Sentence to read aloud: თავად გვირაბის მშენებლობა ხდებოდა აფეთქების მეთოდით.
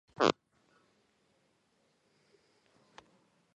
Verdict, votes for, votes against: rejected, 0, 2